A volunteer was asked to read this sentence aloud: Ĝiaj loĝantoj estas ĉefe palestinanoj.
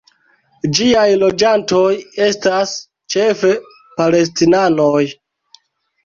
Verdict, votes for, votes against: accepted, 2, 0